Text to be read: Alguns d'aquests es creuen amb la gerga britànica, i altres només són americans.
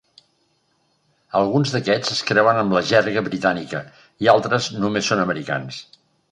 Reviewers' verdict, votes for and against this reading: accepted, 2, 0